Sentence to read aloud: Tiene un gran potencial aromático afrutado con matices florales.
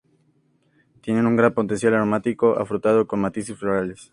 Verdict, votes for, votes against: accepted, 2, 0